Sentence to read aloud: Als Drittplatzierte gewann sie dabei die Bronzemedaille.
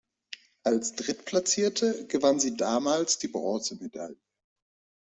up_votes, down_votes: 0, 2